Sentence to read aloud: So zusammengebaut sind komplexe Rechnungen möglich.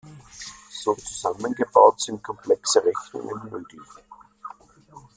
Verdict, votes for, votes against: accepted, 2, 0